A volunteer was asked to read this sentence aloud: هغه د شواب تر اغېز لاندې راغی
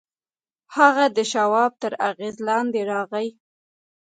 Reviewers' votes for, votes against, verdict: 2, 0, accepted